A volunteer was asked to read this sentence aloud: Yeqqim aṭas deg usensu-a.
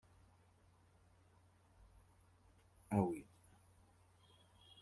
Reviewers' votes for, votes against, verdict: 0, 3, rejected